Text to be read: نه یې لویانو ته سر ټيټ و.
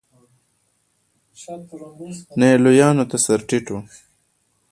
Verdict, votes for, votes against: accepted, 2, 1